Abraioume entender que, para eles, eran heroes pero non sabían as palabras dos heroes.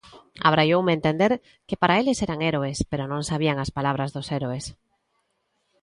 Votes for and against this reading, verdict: 0, 2, rejected